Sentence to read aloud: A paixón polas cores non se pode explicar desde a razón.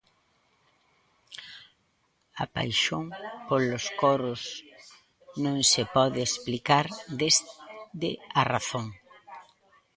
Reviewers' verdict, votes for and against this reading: rejected, 0, 2